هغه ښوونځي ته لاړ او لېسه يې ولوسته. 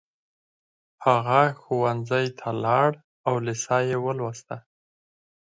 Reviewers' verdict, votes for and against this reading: accepted, 6, 2